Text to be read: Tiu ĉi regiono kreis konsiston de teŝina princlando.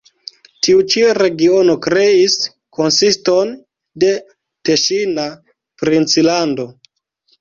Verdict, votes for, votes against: accepted, 2, 0